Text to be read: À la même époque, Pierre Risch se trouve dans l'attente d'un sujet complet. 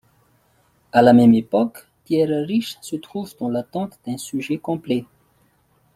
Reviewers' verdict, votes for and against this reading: accepted, 2, 0